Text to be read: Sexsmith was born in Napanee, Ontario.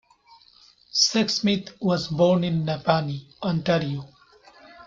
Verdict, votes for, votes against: accepted, 2, 0